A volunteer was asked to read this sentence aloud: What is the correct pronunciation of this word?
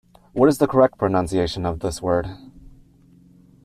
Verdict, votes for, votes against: accepted, 2, 1